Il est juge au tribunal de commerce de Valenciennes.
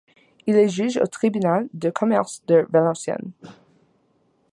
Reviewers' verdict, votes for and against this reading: accepted, 2, 0